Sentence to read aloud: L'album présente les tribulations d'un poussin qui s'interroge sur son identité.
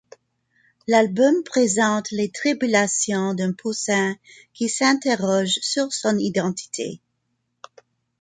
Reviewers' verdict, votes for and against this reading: accepted, 2, 0